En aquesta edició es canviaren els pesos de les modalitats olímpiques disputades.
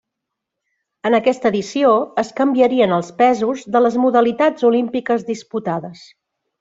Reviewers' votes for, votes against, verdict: 1, 2, rejected